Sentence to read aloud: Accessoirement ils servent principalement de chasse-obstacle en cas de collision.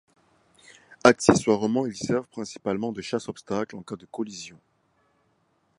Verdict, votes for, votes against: accepted, 2, 0